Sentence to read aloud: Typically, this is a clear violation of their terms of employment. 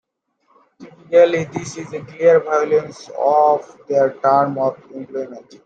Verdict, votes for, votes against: rejected, 1, 2